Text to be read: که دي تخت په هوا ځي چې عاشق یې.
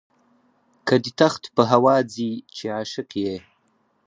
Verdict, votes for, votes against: rejected, 0, 4